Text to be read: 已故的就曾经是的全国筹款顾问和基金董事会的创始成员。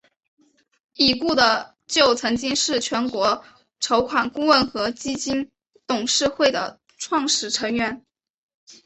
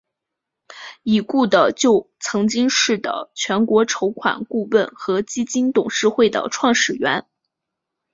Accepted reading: second